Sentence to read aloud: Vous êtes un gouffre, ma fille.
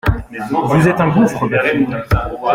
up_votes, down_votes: 2, 0